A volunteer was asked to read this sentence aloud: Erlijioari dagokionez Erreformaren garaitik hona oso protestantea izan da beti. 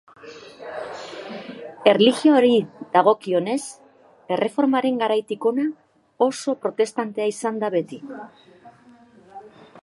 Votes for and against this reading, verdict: 2, 1, accepted